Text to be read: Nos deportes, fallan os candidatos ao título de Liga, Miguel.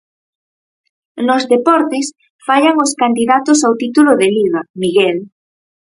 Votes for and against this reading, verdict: 4, 0, accepted